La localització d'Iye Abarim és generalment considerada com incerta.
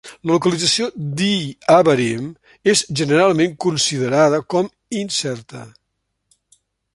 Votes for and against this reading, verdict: 2, 1, accepted